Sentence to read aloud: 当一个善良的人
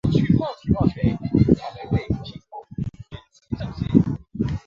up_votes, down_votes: 0, 4